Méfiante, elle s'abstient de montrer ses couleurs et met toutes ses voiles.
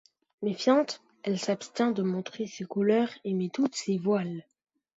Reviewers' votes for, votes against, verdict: 2, 0, accepted